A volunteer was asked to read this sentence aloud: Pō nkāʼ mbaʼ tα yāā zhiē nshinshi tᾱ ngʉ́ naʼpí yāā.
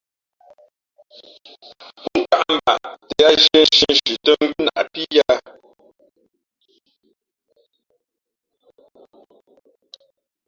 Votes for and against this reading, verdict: 0, 2, rejected